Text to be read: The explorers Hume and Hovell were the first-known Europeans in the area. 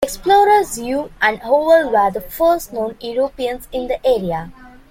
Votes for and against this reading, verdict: 0, 2, rejected